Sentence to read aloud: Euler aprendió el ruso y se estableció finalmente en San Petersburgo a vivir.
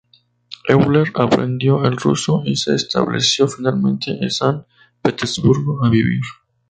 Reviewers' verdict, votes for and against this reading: accepted, 2, 0